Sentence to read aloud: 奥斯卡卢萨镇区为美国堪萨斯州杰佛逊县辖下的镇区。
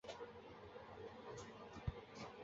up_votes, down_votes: 0, 2